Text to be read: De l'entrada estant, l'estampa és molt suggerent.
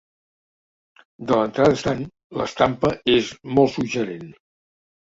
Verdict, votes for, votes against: rejected, 1, 2